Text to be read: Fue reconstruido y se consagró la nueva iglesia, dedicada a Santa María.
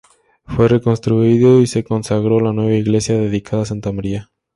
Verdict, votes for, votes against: accepted, 2, 0